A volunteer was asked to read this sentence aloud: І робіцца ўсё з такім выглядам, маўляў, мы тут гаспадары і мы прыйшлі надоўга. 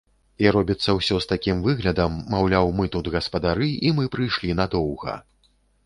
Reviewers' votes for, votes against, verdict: 2, 0, accepted